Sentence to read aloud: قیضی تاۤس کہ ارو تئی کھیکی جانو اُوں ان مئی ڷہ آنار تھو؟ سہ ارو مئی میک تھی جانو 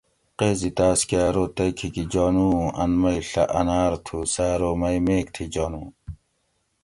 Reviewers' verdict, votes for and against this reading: accepted, 2, 0